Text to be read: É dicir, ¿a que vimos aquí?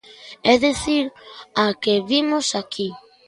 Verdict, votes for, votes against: rejected, 1, 2